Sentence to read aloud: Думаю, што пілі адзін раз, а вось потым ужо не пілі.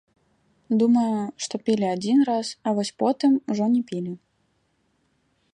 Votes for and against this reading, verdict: 1, 3, rejected